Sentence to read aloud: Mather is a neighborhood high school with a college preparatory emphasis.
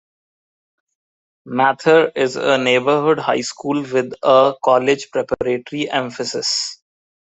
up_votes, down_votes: 2, 0